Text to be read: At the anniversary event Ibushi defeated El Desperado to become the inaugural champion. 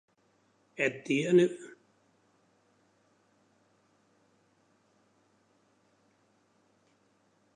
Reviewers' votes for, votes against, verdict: 0, 2, rejected